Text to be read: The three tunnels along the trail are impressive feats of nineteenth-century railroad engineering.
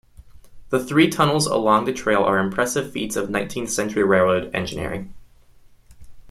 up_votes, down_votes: 2, 1